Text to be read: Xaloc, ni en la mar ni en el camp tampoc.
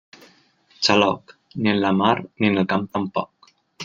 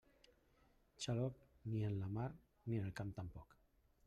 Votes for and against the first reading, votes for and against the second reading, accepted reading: 5, 0, 0, 2, first